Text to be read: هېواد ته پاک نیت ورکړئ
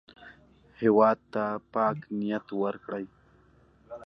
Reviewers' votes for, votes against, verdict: 2, 0, accepted